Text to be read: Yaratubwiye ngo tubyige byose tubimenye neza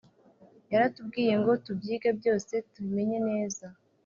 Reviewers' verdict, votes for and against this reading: accepted, 4, 0